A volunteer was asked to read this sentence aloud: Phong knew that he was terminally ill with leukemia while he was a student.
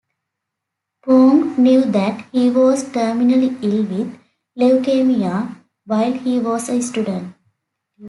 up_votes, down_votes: 2, 0